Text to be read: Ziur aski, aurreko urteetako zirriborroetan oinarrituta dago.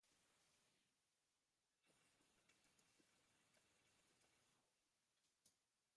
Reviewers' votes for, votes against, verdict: 0, 2, rejected